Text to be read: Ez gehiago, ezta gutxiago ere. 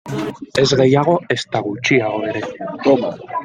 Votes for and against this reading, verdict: 0, 2, rejected